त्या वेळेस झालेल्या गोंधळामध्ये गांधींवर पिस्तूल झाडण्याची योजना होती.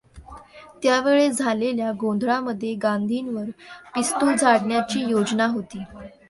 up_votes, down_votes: 2, 0